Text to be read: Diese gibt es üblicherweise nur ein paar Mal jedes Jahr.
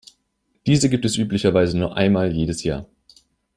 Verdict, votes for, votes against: rejected, 0, 2